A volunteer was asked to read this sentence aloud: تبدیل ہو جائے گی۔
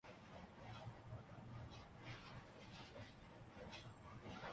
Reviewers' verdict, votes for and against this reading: rejected, 0, 3